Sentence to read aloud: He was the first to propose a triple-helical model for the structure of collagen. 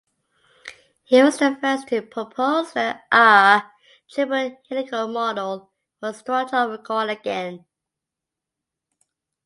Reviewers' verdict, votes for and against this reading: rejected, 0, 2